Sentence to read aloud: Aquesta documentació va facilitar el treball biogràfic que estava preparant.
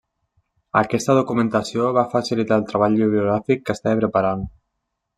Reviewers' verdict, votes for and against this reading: rejected, 1, 2